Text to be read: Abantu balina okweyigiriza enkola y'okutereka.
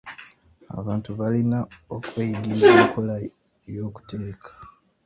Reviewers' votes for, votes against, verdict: 1, 2, rejected